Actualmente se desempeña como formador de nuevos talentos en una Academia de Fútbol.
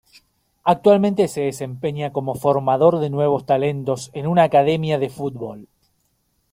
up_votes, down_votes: 2, 0